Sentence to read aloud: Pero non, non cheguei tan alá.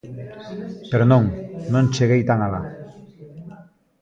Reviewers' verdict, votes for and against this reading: rejected, 1, 2